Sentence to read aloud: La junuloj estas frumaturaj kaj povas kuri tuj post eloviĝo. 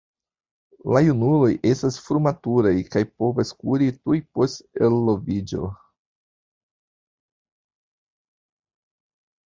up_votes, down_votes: 1, 2